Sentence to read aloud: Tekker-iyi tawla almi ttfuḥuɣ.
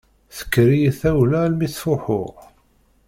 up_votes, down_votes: 2, 0